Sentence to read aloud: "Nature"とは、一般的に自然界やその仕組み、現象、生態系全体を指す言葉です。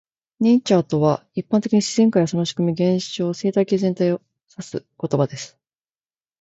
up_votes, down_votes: 3, 0